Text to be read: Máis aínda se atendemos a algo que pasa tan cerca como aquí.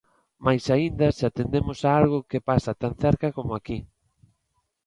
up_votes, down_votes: 2, 0